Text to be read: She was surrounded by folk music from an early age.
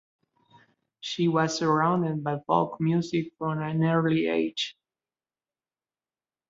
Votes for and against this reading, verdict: 2, 1, accepted